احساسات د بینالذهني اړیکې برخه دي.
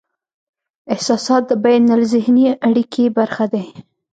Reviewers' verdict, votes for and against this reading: rejected, 1, 2